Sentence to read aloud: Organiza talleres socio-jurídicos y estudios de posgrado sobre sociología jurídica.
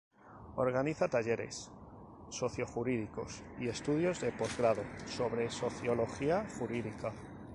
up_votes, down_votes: 2, 0